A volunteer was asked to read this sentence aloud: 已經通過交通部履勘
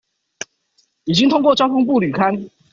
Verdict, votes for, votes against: accepted, 2, 0